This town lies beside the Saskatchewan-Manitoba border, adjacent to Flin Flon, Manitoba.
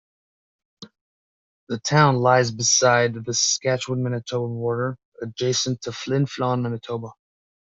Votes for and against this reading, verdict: 0, 2, rejected